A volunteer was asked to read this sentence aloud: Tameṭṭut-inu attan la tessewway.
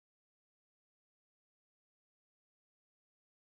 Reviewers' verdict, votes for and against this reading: rejected, 0, 2